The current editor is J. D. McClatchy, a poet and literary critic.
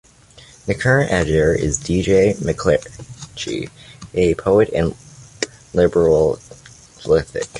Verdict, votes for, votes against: rejected, 0, 2